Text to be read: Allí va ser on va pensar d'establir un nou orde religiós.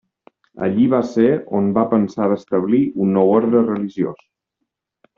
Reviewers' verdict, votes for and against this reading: accepted, 2, 0